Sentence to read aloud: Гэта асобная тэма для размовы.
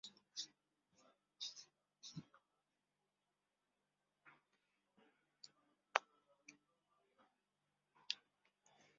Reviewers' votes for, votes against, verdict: 0, 2, rejected